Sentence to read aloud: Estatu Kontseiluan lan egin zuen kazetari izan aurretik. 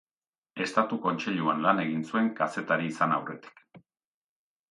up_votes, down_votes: 2, 0